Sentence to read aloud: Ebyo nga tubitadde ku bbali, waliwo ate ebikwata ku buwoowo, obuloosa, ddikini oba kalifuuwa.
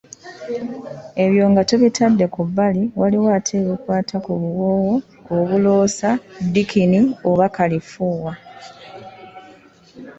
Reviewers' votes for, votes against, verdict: 2, 0, accepted